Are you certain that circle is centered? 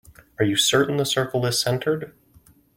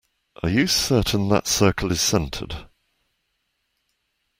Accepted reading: second